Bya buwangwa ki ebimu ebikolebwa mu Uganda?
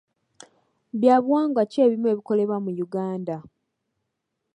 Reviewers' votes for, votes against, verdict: 2, 0, accepted